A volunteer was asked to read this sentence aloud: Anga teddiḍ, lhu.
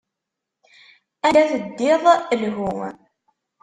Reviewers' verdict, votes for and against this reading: rejected, 1, 2